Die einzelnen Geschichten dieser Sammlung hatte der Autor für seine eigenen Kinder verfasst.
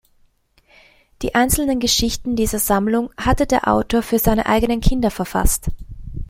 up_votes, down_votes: 2, 0